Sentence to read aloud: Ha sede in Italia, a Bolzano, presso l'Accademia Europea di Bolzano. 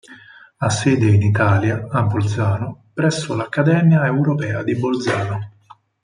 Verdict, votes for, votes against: accepted, 4, 0